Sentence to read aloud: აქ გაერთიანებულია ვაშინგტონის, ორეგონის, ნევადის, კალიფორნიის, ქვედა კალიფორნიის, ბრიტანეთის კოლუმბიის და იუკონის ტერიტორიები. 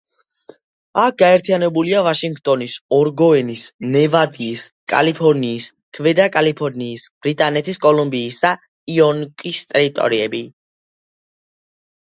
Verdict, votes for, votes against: rejected, 0, 2